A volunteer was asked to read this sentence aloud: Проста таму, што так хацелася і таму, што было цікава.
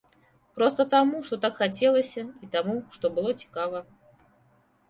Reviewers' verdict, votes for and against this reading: accepted, 3, 0